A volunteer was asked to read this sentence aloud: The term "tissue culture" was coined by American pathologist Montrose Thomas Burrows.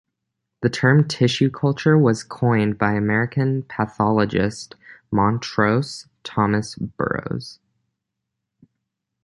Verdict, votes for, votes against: accepted, 2, 0